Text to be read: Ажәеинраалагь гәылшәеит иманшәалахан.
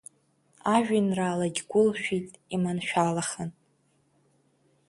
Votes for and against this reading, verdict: 2, 0, accepted